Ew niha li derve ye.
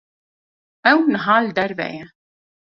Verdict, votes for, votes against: accepted, 2, 0